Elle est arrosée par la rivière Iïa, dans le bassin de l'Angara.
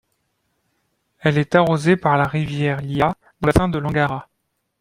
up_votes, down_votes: 0, 2